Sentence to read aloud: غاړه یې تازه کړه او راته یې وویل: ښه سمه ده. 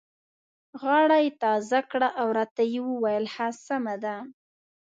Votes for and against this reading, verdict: 2, 0, accepted